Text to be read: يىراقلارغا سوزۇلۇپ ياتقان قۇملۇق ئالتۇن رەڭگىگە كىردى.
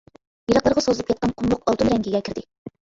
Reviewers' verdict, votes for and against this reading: rejected, 1, 2